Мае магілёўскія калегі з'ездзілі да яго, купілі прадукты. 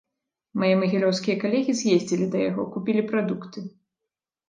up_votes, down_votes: 2, 0